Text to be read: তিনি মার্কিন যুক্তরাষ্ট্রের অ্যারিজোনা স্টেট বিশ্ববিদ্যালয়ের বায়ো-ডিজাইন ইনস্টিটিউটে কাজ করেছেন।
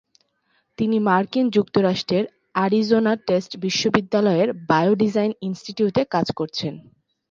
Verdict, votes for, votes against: rejected, 2, 2